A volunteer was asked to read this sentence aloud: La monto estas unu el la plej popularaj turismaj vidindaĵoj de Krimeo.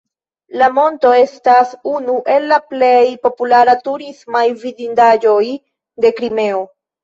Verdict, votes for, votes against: rejected, 1, 2